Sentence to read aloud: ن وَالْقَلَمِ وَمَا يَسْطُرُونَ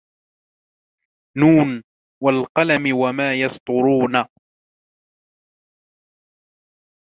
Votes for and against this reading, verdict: 2, 0, accepted